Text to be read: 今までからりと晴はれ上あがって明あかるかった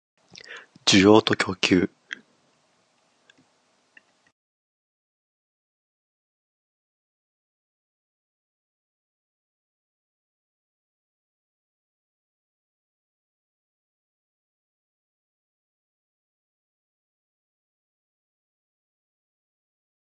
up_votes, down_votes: 0, 4